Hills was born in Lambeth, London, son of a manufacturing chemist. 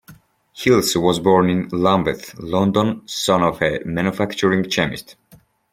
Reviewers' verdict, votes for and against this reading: rejected, 0, 2